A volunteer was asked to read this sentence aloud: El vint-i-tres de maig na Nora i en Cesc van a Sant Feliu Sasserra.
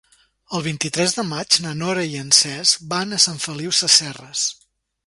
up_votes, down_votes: 0, 2